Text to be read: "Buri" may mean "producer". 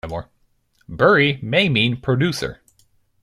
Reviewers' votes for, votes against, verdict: 0, 2, rejected